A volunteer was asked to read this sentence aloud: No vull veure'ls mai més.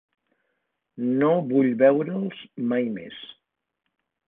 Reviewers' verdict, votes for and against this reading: accepted, 2, 0